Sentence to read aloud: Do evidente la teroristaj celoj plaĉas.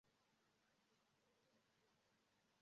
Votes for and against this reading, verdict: 0, 2, rejected